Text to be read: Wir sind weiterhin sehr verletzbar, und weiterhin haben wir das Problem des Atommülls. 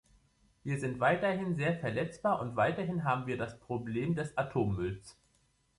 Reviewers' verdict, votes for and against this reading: accepted, 3, 1